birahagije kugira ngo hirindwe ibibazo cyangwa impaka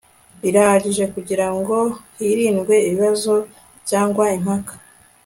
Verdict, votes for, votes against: accepted, 4, 0